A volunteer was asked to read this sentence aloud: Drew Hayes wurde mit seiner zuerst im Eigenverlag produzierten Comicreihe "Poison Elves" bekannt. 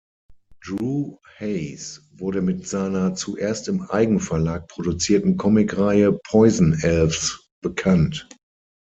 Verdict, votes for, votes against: accepted, 6, 0